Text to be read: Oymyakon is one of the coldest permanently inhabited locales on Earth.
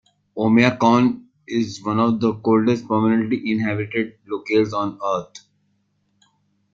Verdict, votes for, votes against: rejected, 0, 2